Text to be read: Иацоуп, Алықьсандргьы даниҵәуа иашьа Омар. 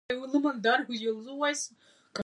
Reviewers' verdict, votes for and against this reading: rejected, 0, 2